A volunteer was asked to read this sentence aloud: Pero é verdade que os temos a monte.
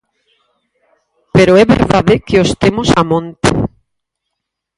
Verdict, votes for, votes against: rejected, 0, 4